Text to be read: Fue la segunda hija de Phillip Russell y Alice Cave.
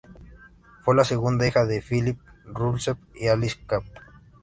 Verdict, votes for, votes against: rejected, 0, 2